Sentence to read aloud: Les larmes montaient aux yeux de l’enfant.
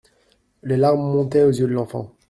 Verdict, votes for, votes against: accepted, 2, 0